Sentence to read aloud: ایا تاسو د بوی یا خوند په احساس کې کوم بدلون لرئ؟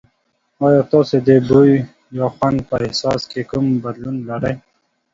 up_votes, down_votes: 2, 0